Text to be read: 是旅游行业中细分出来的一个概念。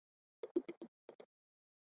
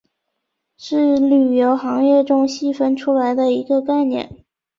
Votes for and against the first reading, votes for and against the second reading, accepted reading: 1, 3, 2, 1, second